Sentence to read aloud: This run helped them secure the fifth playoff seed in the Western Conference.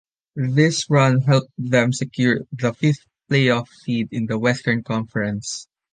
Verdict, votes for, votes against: accepted, 2, 0